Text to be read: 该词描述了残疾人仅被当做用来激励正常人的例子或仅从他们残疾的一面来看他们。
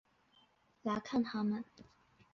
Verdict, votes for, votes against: rejected, 0, 2